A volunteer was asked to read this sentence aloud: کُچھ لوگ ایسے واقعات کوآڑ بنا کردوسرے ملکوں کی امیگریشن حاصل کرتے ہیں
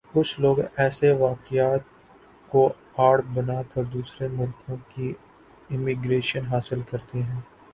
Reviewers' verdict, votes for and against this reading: accepted, 6, 3